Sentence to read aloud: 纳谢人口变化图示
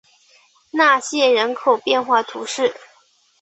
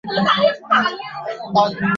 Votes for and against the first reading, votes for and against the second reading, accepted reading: 2, 0, 0, 2, first